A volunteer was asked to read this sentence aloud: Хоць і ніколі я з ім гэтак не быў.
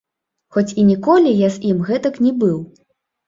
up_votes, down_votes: 2, 0